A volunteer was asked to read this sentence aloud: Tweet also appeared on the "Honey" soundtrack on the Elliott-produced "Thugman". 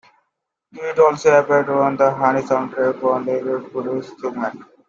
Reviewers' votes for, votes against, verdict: 0, 2, rejected